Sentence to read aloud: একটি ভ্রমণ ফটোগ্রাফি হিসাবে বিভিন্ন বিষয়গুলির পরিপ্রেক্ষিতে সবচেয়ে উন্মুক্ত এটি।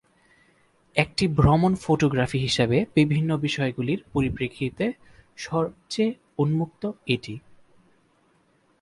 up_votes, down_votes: 2, 6